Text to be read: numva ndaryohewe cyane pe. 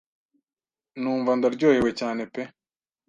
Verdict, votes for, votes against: accepted, 2, 0